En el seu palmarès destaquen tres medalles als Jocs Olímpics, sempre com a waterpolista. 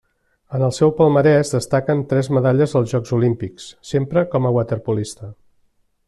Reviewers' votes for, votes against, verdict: 3, 0, accepted